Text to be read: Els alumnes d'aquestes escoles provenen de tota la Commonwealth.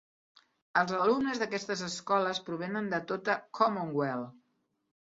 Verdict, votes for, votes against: rejected, 0, 2